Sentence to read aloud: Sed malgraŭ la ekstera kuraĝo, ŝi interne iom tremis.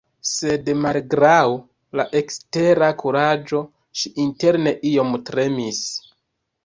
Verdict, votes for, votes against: rejected, 0, 2